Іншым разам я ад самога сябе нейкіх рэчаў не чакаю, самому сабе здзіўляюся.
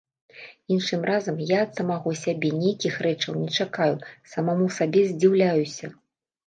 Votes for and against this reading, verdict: 0, 2, rejected